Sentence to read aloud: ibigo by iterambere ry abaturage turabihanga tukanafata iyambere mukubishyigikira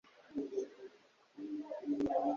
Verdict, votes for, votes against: rejected, 1, 2